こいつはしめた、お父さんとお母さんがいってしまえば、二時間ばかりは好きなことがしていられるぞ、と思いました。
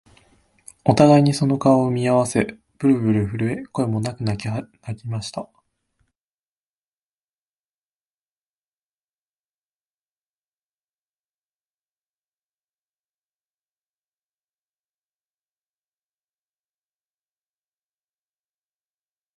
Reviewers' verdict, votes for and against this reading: rejected, 0, 3